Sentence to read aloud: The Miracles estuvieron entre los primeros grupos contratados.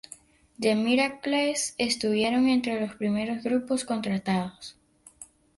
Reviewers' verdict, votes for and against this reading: rejected, 2, 2